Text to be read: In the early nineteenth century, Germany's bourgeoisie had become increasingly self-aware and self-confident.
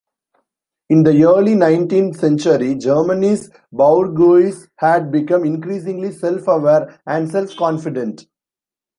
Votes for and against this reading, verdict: 0, 2, rejected